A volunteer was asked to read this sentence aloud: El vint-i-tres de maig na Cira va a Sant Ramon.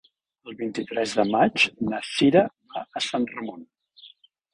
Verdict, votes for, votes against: rejected, 0, 2